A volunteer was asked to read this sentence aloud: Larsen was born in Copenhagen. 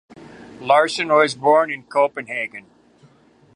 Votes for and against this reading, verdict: 2, 1, accepted